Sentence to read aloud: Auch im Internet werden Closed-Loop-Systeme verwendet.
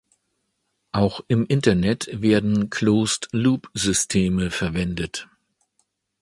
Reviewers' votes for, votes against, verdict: 2, 0, accepted